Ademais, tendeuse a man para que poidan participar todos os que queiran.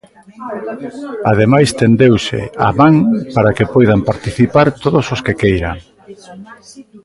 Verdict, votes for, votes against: rejected, 1, 2